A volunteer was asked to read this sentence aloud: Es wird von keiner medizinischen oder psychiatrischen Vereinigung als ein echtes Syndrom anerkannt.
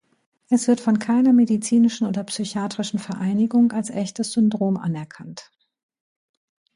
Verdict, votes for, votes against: rejected, 0, 2